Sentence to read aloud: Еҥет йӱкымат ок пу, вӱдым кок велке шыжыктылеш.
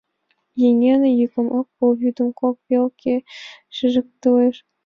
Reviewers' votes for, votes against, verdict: 2, 3, rejected